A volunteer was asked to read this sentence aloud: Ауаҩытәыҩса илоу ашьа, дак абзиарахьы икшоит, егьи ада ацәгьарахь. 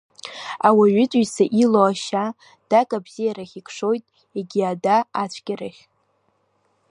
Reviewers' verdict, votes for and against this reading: rejected, 1, 2